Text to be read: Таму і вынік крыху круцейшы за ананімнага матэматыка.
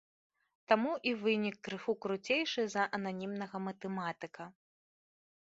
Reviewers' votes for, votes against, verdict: 2, 0, accepted